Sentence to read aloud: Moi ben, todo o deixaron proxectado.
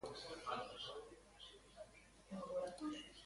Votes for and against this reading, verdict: 0, 2, rejected